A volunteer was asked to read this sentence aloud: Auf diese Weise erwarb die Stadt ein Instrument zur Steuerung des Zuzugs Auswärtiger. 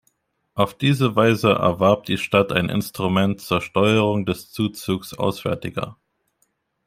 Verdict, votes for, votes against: accepted, 2, 0